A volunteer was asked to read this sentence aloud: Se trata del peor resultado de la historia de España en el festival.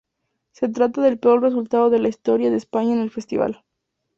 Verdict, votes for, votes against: accepted, 2, 0